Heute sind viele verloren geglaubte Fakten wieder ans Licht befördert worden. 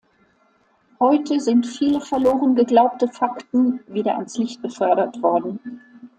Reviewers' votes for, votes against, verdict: 2, 0, accepted